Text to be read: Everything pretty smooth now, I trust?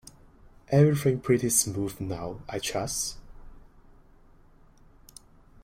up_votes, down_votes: 2, 0